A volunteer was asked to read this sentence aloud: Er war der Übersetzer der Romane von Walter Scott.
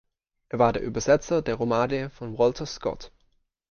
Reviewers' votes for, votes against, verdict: 2, 0, accepted